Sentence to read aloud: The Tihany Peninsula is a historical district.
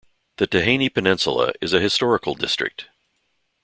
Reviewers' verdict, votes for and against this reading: accepted, 2, 0